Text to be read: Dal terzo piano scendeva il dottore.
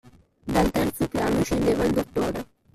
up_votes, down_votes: 0, 2